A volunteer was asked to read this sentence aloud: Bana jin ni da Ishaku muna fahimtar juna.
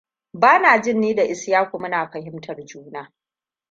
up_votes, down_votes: 1, 2